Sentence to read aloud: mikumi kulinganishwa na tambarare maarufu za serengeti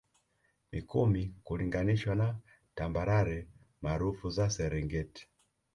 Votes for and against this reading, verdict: 2, 0, accepted